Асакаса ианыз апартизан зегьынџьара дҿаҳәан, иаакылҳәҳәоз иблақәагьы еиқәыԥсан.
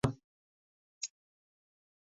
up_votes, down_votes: 1, 2